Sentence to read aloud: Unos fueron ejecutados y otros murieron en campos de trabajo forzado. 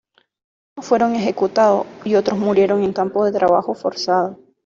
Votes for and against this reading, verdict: 0, 2, rejected